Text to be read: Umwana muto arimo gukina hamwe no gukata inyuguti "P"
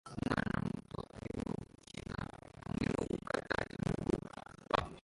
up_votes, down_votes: 0, 2